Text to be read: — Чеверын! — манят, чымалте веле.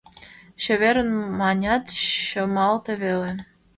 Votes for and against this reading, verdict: 1, 2, rejected